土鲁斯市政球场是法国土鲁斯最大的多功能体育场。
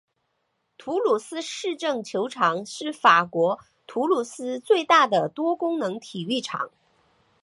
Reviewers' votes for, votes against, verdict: 3, 0, accepted